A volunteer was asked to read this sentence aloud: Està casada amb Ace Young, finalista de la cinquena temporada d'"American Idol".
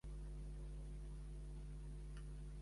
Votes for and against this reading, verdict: 0, 3, rejected